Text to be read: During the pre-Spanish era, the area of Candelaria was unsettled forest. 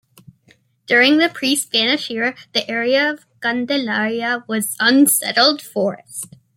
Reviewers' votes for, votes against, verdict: 2, 0, accepted